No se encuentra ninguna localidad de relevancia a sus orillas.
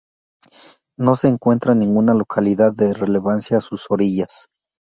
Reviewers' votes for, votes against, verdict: 2, 4, rejected